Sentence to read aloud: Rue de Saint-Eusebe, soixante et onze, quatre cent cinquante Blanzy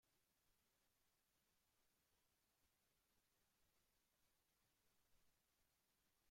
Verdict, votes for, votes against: rejected, 0, 2